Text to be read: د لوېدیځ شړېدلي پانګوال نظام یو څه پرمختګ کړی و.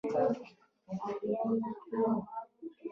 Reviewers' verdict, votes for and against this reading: rejected, 0, 2